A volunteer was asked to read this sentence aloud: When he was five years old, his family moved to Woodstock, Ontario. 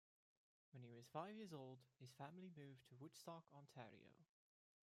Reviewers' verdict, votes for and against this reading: accepted, 2, 0